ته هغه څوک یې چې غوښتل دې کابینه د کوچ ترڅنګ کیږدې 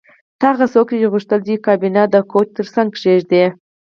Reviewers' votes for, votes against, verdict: 4, 0, accepted